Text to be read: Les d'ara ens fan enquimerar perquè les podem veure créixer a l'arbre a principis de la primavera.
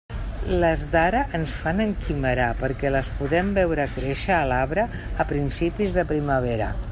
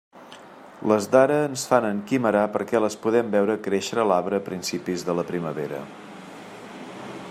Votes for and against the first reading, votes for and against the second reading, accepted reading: 0, 2, 2, 1, second